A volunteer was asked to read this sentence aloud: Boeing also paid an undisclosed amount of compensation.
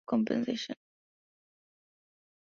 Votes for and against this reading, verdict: 1, 2, rejected